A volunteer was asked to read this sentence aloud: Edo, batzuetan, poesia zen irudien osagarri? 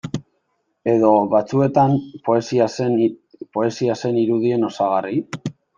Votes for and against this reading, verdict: 0, 2, rejected